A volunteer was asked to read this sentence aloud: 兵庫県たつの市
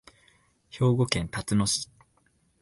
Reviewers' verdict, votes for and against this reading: accepted, 2, 0